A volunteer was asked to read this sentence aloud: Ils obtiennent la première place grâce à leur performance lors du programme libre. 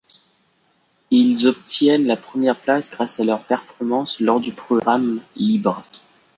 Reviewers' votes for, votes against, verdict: 2, 0, accepted